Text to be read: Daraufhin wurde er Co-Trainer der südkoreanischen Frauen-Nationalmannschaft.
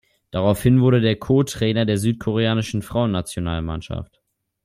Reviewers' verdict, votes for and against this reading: rejected, 0, 2